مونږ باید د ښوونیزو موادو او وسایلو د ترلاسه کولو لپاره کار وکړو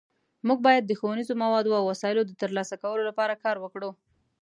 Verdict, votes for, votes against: accepted, 2, 0